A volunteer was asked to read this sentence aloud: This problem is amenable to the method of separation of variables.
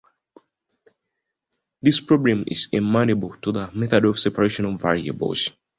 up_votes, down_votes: 1, 2